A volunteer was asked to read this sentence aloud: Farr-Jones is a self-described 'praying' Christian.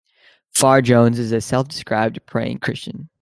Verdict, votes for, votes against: accepted, 2, 0